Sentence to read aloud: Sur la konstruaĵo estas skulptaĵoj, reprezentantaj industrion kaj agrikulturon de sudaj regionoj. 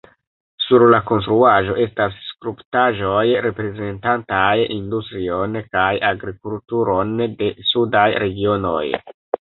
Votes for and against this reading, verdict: 1, 2, rejected